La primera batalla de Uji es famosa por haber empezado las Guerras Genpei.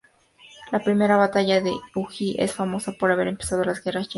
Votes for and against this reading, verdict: 2, 0, accepted